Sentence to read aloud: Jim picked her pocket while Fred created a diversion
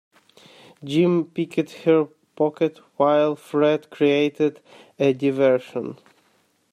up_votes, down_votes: 1, 2